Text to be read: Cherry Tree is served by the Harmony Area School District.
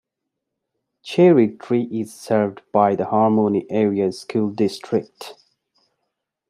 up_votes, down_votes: 2, 0